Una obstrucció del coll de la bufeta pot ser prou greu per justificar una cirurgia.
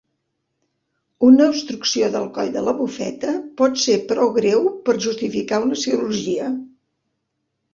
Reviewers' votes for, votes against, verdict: 3, 0, accepted